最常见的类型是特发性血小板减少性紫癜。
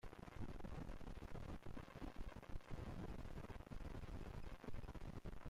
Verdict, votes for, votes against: rejected, 0, 2